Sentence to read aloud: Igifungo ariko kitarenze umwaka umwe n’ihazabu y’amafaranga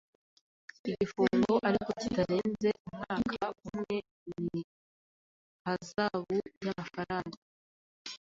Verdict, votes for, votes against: accepted, 2, 0